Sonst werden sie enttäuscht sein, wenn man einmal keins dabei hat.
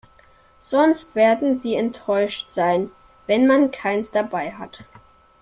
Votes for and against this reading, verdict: 0, 2, rejected